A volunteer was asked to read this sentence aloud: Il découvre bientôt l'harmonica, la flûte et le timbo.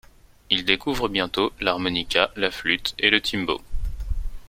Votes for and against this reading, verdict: 2, 0, accepted